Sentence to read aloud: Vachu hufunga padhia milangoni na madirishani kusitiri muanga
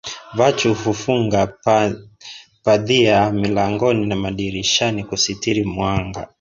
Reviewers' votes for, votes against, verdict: 0, 3, rejected